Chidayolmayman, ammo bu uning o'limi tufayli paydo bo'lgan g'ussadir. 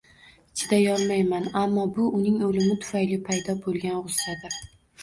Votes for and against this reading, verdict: 0, 2, rejected